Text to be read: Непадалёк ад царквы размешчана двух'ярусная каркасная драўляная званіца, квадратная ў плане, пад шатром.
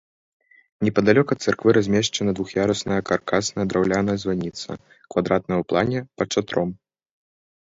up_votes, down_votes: 2, 0